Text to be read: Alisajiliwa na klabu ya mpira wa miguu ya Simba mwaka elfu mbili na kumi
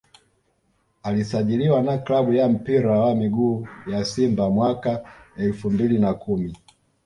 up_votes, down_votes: 2, 1